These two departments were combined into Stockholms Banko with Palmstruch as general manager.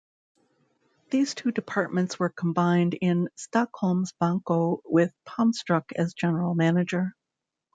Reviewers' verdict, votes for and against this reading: rejected, 0, 2